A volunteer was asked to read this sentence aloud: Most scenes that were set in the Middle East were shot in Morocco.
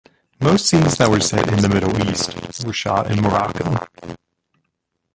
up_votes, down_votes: 1, 2